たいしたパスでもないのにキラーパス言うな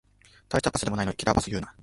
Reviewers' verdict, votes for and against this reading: accepted, 2, 0